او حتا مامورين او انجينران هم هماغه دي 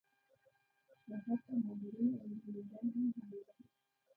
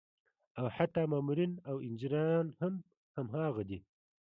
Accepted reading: second